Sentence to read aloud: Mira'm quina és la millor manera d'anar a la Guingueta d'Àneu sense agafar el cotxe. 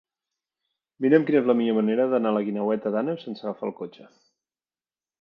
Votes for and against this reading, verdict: 1, 2, rejected